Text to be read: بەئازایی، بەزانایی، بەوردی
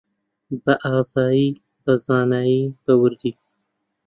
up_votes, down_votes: 2, 0